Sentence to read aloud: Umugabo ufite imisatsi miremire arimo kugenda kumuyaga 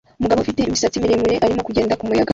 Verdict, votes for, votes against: rejected, 1, 2